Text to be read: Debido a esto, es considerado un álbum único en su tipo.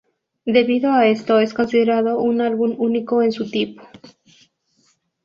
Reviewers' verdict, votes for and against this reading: accepted, 4, 0